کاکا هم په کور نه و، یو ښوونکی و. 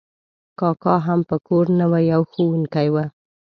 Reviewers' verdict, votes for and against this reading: accepted, 2, 0